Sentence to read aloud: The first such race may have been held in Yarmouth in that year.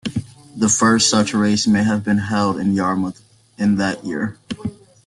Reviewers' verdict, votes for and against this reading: accepted, 2, 1